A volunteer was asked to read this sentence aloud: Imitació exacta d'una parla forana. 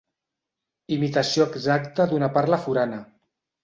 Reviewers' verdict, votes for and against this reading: accepted, 2, 0